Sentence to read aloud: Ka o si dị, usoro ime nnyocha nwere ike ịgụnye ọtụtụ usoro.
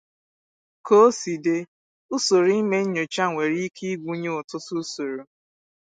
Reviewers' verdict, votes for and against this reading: accepted, 2, 0